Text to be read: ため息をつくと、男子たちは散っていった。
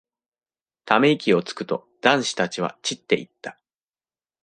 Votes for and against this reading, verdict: 2, 0, accepted